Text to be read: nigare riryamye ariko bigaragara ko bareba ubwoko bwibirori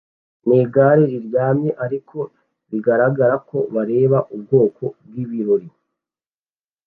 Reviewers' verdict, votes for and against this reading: accepted, 2, 0